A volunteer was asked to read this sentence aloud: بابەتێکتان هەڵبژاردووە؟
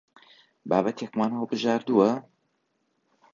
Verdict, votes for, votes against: rejected, 0, 3